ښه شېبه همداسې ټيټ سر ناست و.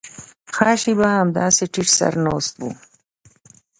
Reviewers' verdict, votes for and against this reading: rejected, 0, 2